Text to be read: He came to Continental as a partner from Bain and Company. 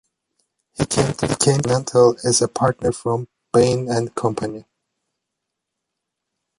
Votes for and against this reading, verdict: 0, 2, rejected